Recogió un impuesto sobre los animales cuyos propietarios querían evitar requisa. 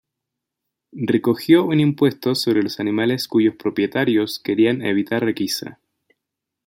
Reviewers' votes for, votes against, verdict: 2, 1, accepted